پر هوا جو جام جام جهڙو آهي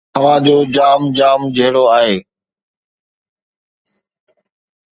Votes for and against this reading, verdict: 2, 1, accepted